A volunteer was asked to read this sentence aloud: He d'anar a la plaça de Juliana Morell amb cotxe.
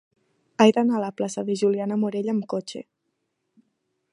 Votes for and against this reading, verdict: 1, 2, rejected